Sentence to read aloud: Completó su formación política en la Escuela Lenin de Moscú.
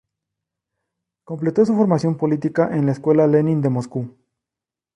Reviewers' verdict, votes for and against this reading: rejected, 2, 2